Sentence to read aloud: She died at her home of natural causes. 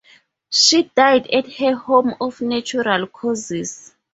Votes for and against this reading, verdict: 4, 0, accepted